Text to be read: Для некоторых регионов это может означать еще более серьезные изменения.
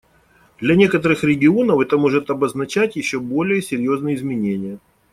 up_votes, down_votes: 0, 2